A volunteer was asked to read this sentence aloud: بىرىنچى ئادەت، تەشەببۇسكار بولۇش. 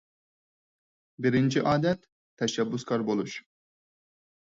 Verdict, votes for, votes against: accepted, 4, 0